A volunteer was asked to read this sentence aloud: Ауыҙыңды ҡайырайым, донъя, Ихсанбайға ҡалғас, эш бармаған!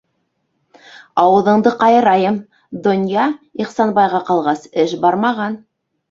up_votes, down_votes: 2, 0